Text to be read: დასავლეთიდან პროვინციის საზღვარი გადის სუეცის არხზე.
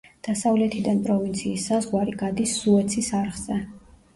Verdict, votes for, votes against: accepted, 2, 0